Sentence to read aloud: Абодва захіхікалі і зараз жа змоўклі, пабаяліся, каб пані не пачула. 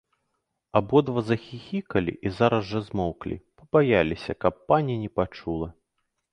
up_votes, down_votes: 0, 2